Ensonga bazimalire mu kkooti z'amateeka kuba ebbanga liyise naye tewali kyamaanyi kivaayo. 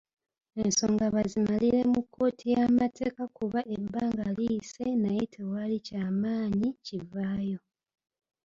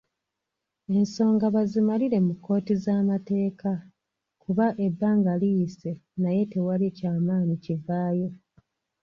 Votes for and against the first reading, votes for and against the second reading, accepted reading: 0, 2, 2, 0, second